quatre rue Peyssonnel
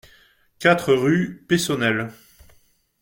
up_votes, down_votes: 2, 0